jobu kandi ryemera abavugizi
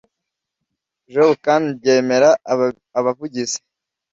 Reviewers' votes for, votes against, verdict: 0, 2, rejected